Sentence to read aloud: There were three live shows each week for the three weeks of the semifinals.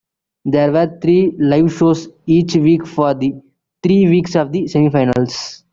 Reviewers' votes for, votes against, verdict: 2, 0, accepted